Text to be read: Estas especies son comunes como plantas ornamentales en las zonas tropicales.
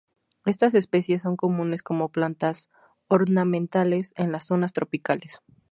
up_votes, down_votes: 2, 0